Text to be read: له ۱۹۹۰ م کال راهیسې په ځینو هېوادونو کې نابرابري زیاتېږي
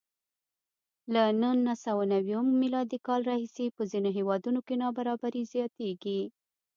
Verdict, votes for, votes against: rejected, 0, 2